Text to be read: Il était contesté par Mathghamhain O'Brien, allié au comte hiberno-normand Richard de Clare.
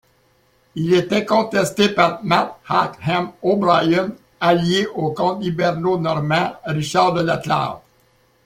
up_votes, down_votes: 1, 2